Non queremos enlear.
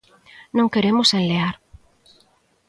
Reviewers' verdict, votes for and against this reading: accepted, 2, 0